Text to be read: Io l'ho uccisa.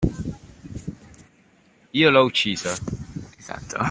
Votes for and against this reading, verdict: 1, 2, rejected